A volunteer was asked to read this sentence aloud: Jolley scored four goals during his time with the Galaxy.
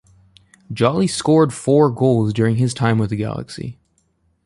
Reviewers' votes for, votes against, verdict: 2, 0, accepted